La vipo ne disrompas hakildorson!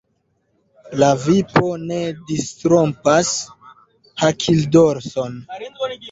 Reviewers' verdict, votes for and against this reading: rejected, 1, 2